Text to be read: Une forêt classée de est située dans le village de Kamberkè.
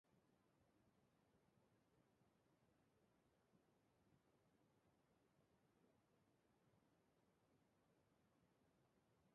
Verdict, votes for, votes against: rejected, 0, 2